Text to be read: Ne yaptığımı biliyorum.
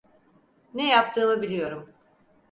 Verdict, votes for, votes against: accepted, 4, 0